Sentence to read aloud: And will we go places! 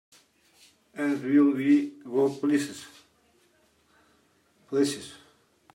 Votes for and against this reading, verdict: 0, 2, rejected